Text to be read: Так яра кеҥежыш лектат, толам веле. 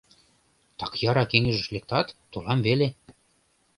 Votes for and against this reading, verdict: 3, 0, accepted